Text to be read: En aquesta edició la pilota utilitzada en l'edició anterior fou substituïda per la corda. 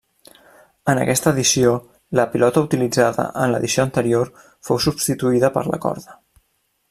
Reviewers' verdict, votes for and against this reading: accepted, 3, 0